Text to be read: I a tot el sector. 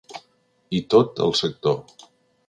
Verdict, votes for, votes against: rejected, 0, 2